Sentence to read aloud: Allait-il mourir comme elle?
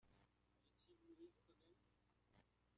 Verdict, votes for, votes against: rejected, 0, 2